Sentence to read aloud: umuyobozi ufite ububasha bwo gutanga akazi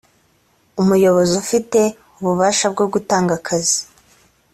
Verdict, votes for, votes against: accepted, 2, 0